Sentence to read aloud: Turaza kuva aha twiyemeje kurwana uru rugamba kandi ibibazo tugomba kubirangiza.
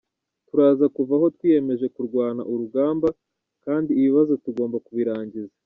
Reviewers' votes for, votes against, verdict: 0, 2, rejected